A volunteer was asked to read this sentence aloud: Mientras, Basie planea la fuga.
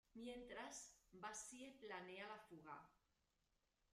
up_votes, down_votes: 1, 2